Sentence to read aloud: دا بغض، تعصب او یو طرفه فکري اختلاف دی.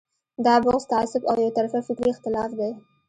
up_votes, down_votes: 2, 0